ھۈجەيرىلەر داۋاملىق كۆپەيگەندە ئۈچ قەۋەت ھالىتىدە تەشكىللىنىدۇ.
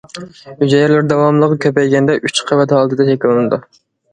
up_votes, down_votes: 0, 2